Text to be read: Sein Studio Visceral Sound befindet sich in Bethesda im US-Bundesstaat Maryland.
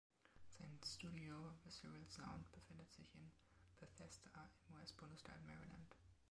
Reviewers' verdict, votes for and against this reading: rejected, 1, 2